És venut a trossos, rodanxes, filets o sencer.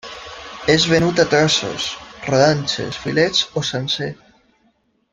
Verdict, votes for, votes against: accepted, 2, 1